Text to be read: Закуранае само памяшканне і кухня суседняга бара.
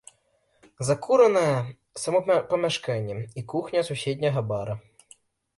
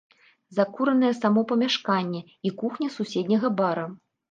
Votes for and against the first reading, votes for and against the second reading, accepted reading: 0, 2, 2, 0, second